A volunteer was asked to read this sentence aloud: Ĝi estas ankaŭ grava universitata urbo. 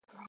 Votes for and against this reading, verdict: 0, 2, rejected